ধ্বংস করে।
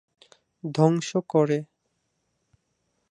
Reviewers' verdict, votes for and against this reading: accepted, 4, 0